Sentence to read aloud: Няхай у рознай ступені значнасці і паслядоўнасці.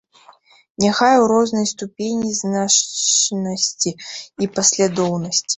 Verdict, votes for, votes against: rejected, 0, 2